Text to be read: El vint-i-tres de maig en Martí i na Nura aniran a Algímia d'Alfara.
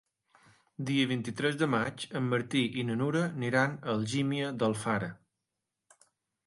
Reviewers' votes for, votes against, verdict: 1, 2, rejected